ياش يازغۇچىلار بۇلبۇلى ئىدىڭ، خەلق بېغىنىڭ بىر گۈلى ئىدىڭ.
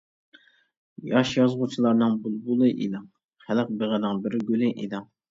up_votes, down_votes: 2, 0